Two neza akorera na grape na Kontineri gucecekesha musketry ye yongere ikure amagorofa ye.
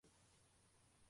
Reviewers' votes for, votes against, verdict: 0, 2, rejected